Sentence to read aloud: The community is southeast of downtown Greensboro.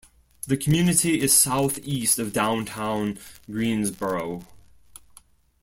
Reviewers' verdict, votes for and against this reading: accepted, 2, 1